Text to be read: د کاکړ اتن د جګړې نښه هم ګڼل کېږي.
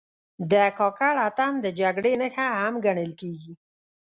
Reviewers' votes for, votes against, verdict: 0, 2, rejected